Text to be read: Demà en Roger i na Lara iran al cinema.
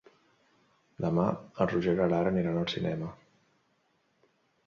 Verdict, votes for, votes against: accepted, 2, 1